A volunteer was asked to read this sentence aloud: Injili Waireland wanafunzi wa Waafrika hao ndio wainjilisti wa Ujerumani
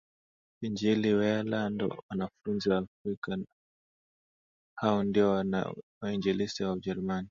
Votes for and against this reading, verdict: 6, 5, accepted